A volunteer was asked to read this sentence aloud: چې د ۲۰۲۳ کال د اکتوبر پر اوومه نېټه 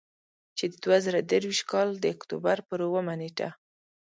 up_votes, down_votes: 0, 2